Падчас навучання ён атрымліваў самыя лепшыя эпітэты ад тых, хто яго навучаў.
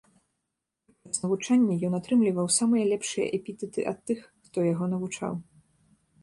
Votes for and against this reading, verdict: 0, 2, rejected